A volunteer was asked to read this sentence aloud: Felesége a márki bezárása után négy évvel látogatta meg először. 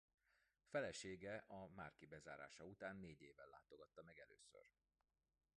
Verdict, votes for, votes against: rejected, 0, 2